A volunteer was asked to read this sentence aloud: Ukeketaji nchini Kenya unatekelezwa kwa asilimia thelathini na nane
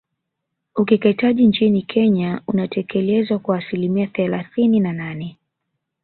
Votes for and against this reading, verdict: 3, 1, accepted